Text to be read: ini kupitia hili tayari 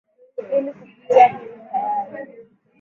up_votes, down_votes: 1, 2